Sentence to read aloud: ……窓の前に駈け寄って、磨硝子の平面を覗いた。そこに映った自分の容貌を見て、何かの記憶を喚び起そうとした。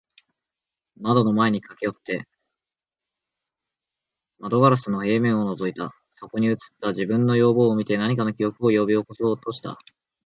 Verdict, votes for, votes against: accepted, 2, 1